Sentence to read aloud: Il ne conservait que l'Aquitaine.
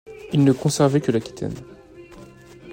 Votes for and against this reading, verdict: 2, 1, accepted